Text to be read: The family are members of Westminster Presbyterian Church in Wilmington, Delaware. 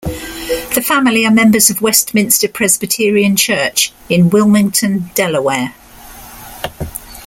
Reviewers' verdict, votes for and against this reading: accepted, 2, 0